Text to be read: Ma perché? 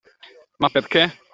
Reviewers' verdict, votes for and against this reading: accepted, 2, 0